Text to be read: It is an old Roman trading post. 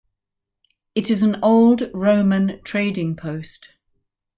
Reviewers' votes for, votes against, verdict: 2, 0, accepted